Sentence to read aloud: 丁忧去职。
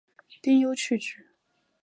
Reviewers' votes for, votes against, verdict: 3, 0, accepted